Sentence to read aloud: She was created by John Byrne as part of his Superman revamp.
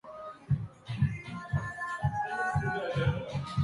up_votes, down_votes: 0, 3